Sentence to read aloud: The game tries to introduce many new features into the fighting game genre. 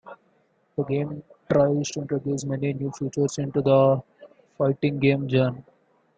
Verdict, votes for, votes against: accepted, 2, 1